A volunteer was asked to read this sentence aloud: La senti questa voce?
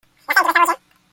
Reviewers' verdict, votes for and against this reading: rejected, 0, 2